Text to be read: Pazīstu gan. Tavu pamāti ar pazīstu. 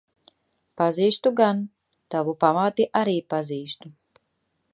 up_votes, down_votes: 0, 2